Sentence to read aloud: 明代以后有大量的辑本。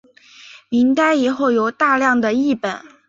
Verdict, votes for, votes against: accepted, 4, 0